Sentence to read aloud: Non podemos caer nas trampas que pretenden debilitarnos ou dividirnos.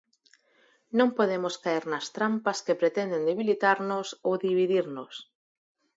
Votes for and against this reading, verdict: 4, 0, accepted